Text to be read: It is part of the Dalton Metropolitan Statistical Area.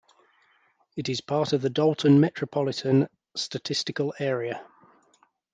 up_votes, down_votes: 2, 0